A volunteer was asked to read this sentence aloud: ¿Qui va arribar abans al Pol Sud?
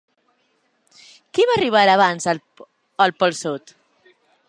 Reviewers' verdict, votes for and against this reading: rejected, 1, 2